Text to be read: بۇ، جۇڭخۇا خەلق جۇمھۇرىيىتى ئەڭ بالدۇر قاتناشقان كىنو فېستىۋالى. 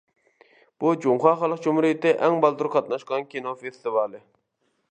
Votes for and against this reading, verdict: 1, 2, rejected